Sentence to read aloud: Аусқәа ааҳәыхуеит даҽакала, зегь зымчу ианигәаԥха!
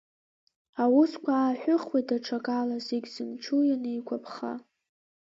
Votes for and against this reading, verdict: 2, 1, accepted